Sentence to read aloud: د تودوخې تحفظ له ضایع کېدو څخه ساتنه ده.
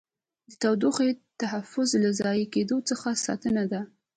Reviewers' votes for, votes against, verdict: 2, 0, accepted